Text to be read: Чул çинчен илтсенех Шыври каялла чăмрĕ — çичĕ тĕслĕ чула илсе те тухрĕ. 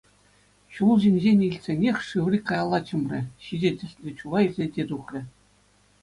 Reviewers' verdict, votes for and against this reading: accepted, 2, 0